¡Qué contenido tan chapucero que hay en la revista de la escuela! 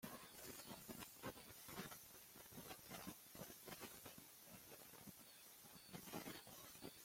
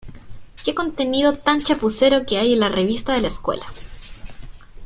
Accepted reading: second